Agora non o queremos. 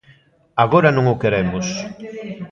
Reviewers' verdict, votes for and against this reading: rejected, 1, 2